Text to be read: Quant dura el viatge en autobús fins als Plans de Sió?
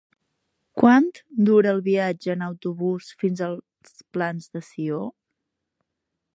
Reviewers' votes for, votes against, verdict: 0, 2, rejected